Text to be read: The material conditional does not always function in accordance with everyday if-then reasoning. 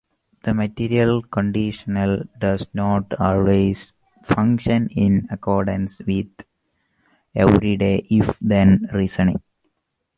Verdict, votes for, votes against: accepted, 2, 0